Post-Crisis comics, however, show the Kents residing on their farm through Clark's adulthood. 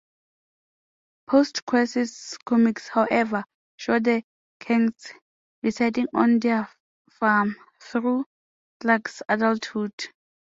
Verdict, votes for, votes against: accepted, 2, 1